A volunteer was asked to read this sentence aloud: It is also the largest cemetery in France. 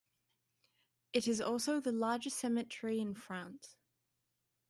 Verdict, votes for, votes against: accepted, 2, 0